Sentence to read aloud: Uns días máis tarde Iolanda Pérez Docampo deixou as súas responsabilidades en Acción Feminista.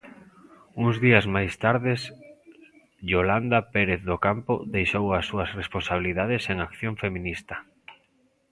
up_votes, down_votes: 0, 2